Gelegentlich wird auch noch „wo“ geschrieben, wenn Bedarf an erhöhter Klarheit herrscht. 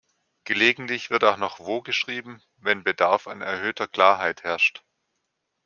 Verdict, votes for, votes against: accepted, 2, 0